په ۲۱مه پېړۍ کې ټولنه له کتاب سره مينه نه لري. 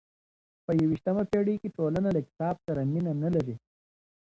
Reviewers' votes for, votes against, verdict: 0, 2, rejected